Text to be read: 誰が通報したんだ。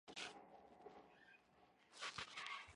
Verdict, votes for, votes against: rejected, 0, 3